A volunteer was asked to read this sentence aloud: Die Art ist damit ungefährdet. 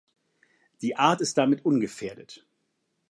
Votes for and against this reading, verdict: 2, 0, accepted